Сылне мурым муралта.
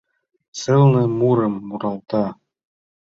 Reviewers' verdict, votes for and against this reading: accepted, 2, 0